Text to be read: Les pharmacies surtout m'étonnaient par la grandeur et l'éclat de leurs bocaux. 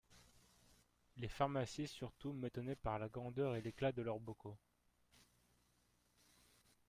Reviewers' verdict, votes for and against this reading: rejected, 0, 2